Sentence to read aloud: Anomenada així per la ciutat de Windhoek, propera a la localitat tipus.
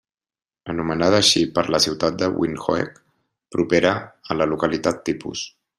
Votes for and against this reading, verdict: 2, 0, accepted